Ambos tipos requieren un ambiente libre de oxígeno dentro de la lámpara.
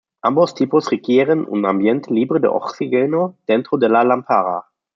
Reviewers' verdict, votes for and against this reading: accepted, 2, 0